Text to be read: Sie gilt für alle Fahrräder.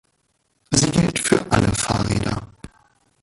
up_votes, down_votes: 1, 2